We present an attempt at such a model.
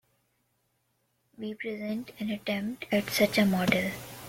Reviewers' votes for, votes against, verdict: 2, 0, accepted